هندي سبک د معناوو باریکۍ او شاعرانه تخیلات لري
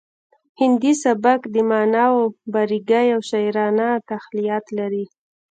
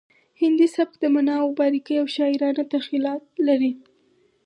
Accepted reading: second